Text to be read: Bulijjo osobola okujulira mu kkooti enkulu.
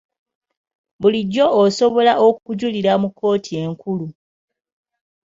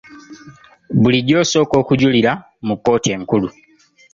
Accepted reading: first